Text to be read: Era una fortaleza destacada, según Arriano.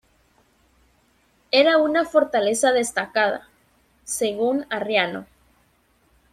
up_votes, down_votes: 2, 0